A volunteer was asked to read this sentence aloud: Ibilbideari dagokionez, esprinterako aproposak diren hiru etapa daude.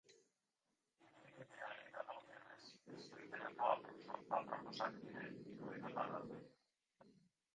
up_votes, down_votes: 0, 2